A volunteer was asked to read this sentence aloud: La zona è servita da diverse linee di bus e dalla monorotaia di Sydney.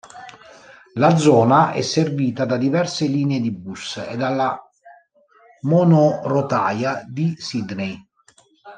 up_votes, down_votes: 1, 2